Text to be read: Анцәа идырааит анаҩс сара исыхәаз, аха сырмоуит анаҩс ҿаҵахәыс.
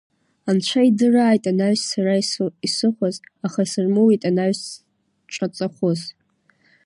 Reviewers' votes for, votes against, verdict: 2, 1, accepted